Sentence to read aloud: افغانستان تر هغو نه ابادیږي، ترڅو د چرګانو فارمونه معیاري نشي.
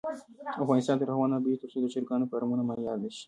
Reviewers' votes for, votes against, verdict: 1, 2, rejected